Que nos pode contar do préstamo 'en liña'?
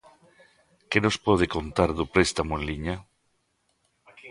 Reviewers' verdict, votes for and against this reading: rejected, 0, 2